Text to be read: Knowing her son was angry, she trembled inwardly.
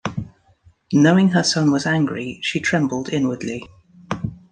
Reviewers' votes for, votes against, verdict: 0, 2, rejected